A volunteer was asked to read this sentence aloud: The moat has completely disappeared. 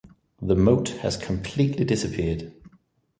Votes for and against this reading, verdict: 2, 0, accepted